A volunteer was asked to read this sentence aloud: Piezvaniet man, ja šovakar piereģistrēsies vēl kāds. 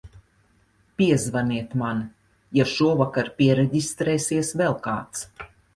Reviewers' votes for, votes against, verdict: 3, 0, accepted